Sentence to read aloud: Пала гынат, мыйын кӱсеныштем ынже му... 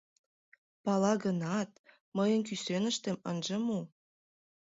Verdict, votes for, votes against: accepted, 2, 0